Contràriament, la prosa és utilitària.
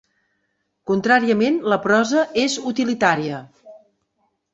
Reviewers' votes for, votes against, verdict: 3, 0, accepted